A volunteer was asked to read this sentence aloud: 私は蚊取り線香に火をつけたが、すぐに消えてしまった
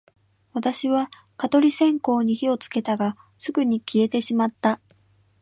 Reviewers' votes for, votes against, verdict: 2, 0, accepted